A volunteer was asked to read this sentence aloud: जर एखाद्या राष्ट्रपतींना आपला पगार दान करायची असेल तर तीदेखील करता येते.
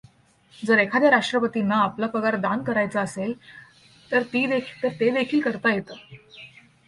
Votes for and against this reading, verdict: 1, 2, rejected